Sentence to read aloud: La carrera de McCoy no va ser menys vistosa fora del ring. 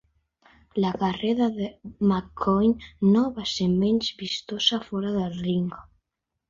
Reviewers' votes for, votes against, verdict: 2, 1, accepted